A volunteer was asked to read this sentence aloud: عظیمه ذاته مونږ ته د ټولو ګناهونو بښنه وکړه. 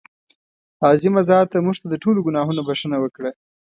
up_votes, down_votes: 2, 0